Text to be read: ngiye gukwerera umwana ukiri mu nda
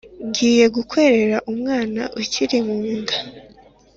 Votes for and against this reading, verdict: 3, 0, accepted